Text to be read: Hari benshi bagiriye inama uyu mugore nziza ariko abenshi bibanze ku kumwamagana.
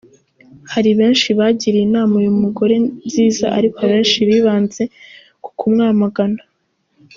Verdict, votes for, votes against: accepted, 2, 0